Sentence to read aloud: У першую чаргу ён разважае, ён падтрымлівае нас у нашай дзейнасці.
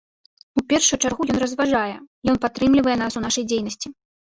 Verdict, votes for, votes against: rejected, 0, 2